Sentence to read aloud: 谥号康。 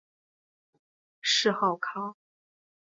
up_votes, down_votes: 6, 0